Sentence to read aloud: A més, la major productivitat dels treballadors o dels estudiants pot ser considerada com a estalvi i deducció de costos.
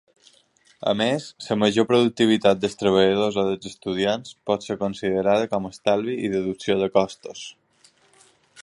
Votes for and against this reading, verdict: 1, 2, rejected